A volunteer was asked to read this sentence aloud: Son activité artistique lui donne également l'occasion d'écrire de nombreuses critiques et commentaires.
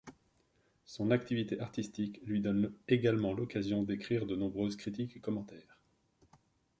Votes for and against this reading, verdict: 2, 1, accepted